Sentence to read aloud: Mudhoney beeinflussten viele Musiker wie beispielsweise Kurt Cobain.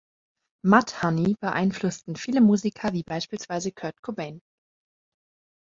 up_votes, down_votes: 2, 0